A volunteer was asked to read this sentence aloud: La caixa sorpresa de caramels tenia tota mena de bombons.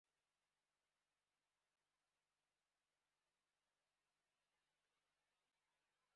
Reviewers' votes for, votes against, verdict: 1, 2, rejected